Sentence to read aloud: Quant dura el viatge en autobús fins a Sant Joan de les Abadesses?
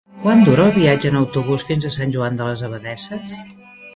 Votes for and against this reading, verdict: 3, 0, accepted